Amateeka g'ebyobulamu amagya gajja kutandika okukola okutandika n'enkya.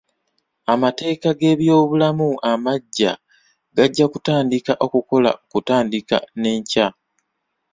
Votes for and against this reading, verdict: 0, 2, rejected